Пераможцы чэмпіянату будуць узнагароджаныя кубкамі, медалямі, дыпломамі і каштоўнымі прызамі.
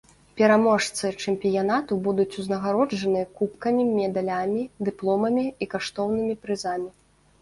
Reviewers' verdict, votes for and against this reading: accepted, 2, 0